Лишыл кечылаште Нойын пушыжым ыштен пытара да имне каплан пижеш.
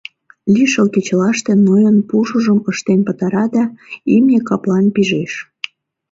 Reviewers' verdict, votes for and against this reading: accepted, 2, 0